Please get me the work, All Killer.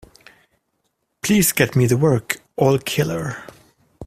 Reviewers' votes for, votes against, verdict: 3, 0, accepted